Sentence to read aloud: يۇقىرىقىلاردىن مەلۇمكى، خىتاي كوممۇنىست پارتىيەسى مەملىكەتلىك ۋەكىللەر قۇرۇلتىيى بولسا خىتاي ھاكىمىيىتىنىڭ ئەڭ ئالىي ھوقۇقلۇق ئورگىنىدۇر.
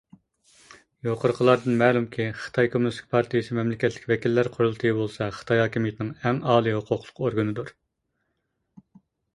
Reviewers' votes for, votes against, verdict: 0, 2, rejected